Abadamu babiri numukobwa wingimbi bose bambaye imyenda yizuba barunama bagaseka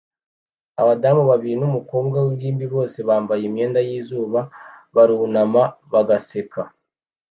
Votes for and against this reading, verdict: 2, 0, accepted